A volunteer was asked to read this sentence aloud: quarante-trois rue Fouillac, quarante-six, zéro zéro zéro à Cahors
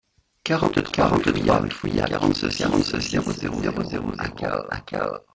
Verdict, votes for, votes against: rejected, 0, 2